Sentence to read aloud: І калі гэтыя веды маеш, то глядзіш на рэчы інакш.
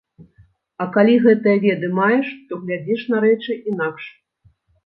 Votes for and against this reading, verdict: 1, 2, rejected